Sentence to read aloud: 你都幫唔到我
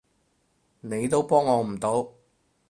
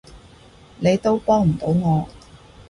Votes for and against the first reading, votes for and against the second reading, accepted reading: 0, 4, 2, 0, second